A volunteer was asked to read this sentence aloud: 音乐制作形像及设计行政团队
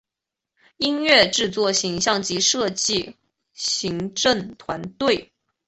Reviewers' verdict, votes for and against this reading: accepted, 2, 0